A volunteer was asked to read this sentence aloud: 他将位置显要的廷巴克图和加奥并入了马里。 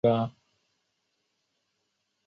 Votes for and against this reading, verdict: 1, 9, rejected